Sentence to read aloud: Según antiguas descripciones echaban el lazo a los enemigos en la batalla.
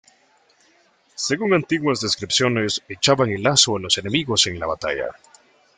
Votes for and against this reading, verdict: 2, 0, accepted